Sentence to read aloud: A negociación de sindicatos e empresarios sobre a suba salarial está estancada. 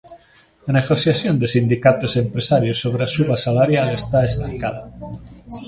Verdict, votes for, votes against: rejected, 0, 2